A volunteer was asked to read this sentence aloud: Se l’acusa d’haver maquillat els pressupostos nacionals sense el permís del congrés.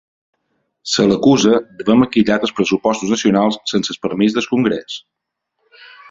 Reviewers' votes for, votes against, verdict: 2, 1, accepted